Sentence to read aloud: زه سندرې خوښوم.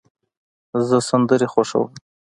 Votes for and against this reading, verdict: 2, 0, accepted